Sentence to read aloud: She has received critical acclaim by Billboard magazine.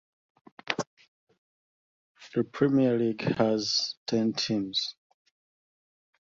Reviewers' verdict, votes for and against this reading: rejected, 0, 2